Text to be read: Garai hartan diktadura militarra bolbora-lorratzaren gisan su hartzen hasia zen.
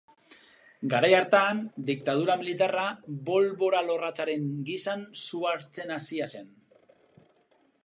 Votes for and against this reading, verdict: 4, 0, accepted